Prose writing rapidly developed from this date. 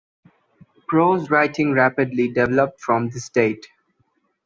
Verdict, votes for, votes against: rejected, 1, 2